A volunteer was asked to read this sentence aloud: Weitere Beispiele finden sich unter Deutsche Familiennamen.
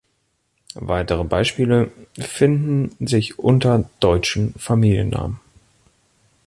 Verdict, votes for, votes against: rejected, 0, 2